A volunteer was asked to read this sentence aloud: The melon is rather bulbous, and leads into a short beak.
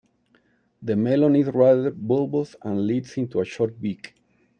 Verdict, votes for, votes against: accepted, 2, 1